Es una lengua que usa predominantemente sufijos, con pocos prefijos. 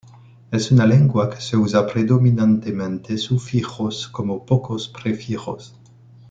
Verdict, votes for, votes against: rejected, 1, 2